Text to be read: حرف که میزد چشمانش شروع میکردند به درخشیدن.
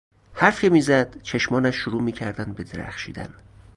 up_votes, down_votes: 0, 2